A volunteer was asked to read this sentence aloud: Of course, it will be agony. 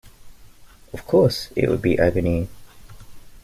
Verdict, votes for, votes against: accepted, 2, 0